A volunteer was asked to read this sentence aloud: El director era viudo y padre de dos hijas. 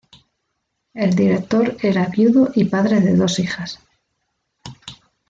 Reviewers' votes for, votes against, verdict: 2, 0, accepted